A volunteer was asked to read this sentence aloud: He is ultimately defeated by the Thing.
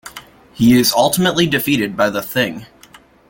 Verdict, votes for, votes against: accepted, 3, 1